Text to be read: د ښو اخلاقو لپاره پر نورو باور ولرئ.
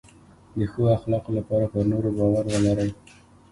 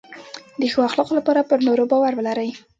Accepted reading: first